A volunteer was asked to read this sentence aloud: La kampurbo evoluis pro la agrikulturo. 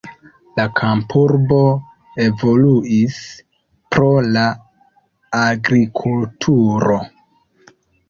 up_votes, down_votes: 2, 0